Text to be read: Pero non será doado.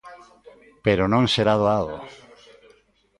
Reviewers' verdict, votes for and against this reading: rejected, 1, 2